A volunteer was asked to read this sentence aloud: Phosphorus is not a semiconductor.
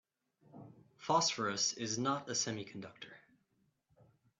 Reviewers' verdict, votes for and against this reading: accepted, 4, 0